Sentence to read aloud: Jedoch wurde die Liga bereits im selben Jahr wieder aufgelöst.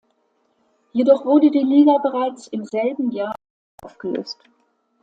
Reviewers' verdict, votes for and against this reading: rejected, 1, 2